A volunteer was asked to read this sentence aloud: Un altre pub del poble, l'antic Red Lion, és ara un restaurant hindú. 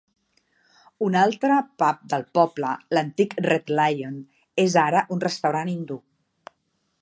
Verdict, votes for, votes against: accepted, 4, 0